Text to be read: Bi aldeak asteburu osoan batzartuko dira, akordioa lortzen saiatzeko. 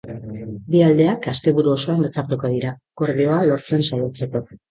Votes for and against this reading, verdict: 2, 2, rejected